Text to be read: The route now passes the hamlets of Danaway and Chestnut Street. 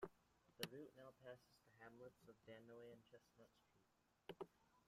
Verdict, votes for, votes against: rejected, 1, 2